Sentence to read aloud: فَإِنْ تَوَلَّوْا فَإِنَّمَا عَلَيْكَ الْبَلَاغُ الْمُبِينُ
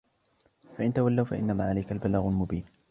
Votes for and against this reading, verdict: 2, 0, accepted